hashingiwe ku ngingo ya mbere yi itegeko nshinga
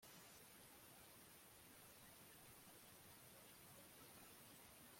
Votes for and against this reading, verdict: 0, 2, rejected